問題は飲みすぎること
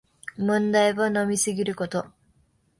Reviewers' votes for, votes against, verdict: 2, 0, accepted